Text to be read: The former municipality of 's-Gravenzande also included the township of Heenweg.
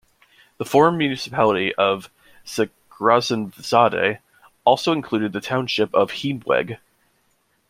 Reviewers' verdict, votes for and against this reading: rejected, 0, 2